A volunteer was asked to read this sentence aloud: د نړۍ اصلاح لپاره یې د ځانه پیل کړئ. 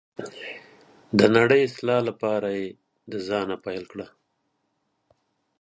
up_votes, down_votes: 3, 0